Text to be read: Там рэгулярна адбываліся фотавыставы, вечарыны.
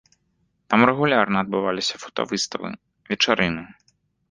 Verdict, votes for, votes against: rejected, 1, 2